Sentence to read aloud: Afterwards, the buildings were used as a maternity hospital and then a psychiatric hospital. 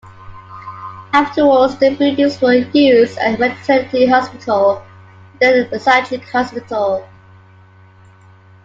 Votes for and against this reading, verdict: 1, 2, rejected